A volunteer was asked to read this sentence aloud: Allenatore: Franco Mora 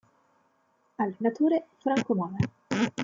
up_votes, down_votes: 1, 2